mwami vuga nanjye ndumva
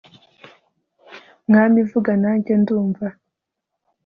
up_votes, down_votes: 2, 0